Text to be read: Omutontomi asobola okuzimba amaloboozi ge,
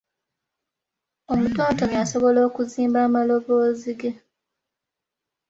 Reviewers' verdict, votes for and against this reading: accepted, 2, 0